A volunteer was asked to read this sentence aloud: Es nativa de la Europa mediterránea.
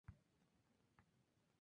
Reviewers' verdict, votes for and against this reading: accepted, 2, 0